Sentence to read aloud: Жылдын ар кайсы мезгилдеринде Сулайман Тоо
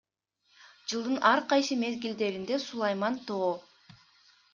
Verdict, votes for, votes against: accepted, 2, 0